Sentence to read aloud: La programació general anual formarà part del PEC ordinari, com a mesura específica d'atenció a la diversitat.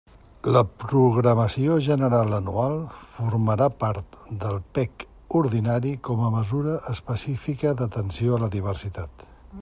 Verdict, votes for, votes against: accepted, 3, 0